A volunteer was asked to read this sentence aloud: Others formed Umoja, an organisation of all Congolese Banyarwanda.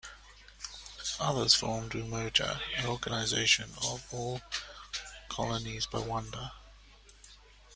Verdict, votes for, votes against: rejected, 0, 2